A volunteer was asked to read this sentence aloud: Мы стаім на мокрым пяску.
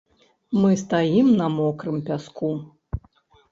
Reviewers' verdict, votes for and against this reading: accepted, 2, 0